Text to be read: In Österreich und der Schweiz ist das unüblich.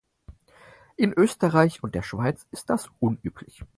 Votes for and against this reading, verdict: 4, 0, accepted